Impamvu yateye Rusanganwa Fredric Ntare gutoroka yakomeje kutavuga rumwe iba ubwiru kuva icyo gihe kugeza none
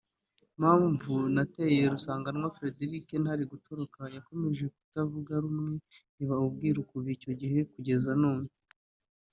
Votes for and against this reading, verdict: 1, 2, rejected